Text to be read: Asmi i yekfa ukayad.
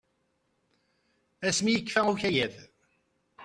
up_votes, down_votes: 2, 0